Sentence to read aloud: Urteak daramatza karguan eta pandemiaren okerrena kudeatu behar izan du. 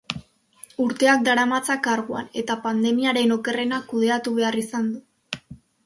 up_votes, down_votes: 3, 0